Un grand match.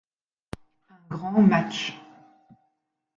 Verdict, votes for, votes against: rejected, 0, 2